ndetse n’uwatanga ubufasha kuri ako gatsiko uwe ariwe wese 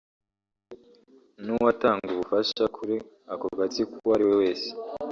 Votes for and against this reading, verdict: 1, 2, rejected